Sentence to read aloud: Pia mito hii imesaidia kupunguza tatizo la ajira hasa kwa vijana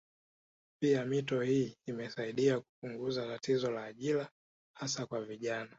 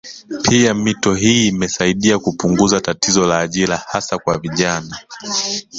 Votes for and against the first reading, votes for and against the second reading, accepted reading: 2, 0, 0, 3, first